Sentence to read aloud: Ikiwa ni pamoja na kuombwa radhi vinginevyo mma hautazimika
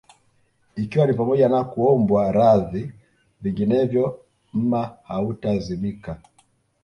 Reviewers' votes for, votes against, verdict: 1, 2, rejected